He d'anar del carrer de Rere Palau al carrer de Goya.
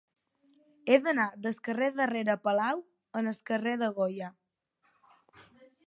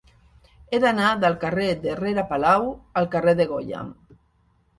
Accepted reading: second